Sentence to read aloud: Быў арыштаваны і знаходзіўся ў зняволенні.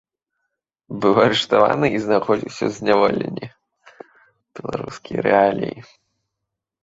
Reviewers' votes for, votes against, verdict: 1, 2, rejected